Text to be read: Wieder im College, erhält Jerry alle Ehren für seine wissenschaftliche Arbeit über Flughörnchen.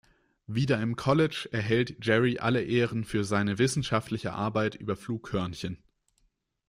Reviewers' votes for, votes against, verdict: 2, 1, accepted